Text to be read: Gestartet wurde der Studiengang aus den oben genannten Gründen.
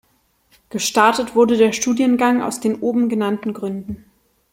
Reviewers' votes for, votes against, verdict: 2, 0, accepted